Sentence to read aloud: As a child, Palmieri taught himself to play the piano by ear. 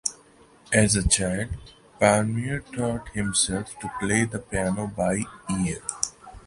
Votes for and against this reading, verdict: 2, 0, accepted